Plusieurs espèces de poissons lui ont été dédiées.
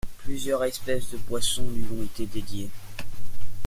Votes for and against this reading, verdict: 2, 0, accepted